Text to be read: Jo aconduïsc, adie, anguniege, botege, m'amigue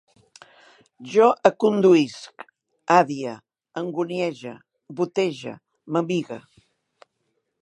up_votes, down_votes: 2, 1